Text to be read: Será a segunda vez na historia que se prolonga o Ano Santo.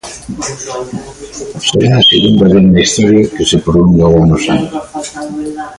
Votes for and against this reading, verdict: 1, 2, rejected